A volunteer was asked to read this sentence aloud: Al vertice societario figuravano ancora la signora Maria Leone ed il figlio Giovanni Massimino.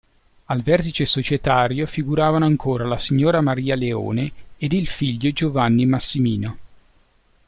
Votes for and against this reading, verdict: 2, 0, accepted